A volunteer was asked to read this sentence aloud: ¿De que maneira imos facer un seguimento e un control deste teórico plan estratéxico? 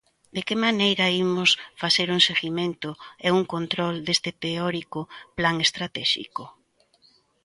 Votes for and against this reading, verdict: 2, 0, accepted